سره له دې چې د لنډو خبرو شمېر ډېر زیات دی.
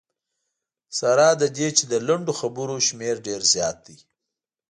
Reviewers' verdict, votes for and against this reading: accepted, 2, 0